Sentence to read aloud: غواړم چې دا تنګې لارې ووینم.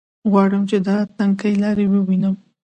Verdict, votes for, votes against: accepted, 2, 0